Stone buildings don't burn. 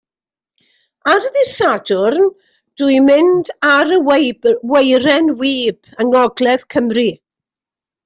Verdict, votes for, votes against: rejected, 0, 2